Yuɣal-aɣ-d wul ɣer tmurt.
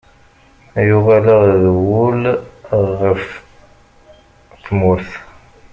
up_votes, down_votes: 1, 2